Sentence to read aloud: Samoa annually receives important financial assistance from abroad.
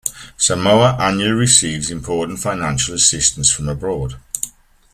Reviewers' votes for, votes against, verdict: 3, 0, accepted